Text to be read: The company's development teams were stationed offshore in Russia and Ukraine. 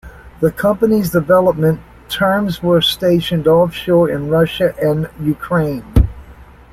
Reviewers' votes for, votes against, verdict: 0, 2, rejected